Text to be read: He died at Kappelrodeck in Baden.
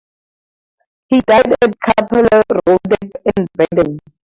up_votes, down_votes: 0, 4